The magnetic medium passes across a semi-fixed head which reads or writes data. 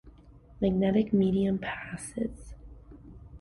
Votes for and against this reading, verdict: 0, 2, rejected